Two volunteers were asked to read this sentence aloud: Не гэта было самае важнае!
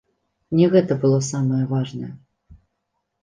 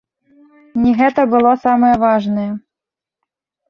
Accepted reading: first